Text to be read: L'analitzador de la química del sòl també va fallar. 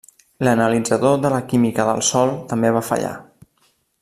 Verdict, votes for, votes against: accepted, 3, 0